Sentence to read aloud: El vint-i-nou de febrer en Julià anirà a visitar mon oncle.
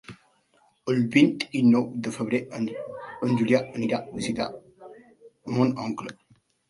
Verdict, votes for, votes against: rejected, 0, 2